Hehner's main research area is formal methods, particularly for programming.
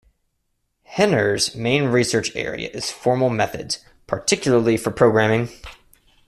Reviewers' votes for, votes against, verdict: 2, 0, accepted